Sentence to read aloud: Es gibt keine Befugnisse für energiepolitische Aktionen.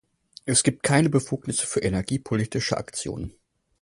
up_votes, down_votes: 4, 0